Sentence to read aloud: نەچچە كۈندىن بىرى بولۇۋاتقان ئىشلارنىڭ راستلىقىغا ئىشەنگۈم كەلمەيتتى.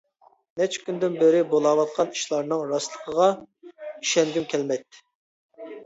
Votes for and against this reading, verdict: 0, 2, rejected